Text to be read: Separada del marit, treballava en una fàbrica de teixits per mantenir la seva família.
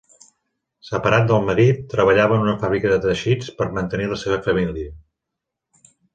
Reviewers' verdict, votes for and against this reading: rejected, 0, 2